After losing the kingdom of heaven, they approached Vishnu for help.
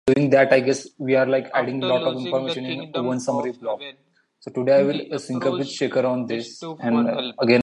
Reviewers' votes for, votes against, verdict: 0, 2, rejected